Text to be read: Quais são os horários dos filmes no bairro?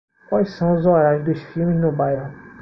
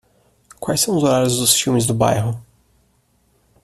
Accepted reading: first